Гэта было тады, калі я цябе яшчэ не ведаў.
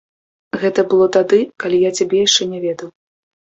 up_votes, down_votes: 2, 0